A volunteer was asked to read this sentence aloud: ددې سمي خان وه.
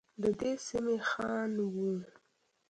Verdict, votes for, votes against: accepted, 2, 0